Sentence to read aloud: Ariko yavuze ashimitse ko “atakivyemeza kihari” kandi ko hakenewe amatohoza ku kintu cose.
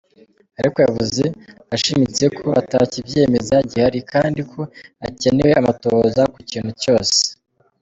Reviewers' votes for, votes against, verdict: 1, 2, rejected